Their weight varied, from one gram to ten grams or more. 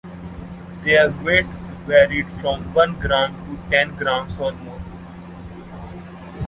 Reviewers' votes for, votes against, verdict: 2, 0, accepted